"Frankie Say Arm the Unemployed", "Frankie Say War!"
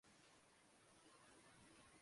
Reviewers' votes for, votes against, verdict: 0, 2, rejected